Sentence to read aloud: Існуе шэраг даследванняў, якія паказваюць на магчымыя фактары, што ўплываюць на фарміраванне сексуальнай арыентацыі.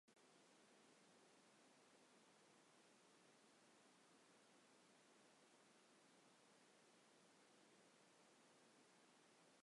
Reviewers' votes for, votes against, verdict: 1, 2, rejected